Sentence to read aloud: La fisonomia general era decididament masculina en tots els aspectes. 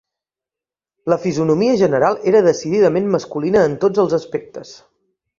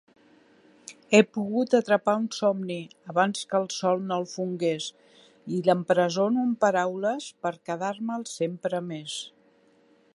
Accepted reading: first